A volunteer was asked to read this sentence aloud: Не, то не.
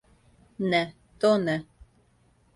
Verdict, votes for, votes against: accepted, 2, 0